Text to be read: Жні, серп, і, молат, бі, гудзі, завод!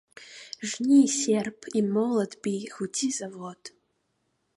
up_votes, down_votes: 2, 1